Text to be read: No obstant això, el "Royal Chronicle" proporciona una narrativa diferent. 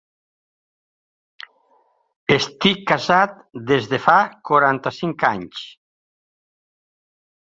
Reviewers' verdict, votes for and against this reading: rejected, 0, 4